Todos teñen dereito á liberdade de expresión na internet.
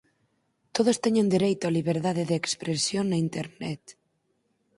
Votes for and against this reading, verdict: 4, 0, accepted